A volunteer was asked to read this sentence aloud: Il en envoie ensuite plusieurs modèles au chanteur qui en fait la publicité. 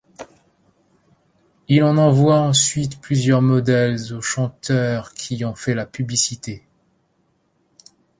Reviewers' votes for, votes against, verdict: 1, 2, rejected